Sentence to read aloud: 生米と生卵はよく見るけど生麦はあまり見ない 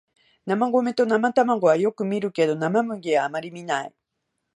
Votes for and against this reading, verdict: 2, 0, accepted